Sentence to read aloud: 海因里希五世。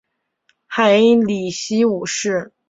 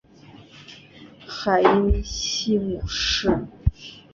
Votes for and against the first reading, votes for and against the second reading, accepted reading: 7, 0, 3, 3, first